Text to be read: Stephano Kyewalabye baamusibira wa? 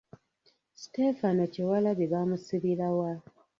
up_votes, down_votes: 1, 2